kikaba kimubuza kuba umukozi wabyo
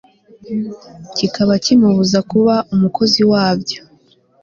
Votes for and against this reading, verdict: 2, 0, accepted